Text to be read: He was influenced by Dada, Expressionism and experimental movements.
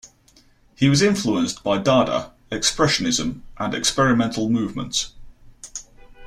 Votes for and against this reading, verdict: 2, 0, accepted